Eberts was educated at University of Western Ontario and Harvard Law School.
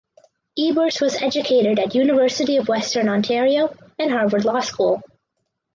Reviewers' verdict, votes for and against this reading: accepted, 4, 0